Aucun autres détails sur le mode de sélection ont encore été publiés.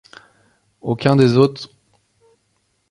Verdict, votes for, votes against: rejected, 0, 2